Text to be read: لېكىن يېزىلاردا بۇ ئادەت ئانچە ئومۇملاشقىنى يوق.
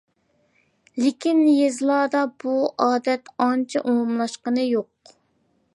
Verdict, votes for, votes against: accepted, 2, 0